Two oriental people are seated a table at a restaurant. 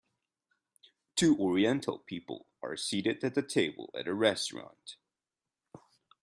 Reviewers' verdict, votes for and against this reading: rejected, 1, 2